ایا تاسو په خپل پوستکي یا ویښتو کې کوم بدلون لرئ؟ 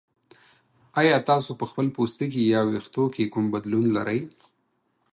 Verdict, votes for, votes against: accepted, 4, 0